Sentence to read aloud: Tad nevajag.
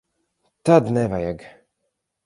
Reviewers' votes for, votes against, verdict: 6, 0, accepted